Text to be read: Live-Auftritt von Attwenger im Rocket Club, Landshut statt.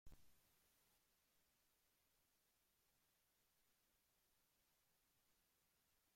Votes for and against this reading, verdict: 0, 2, rejected